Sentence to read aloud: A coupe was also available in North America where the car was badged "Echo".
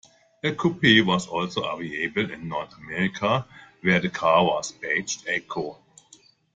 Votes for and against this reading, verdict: 2, 1, accepted